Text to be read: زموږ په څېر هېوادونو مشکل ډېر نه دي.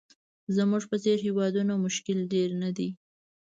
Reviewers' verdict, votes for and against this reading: rejected, 1, 2